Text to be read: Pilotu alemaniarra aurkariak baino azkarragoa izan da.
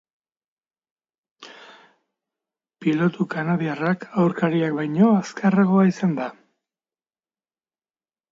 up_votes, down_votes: 0, 2